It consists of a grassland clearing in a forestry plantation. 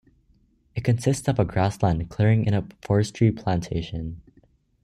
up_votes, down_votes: 2, 0